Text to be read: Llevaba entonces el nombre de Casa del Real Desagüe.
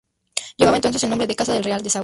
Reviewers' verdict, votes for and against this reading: rejected, 0, 2